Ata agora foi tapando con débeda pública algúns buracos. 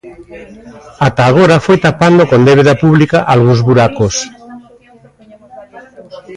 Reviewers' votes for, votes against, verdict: 2, 1, accepted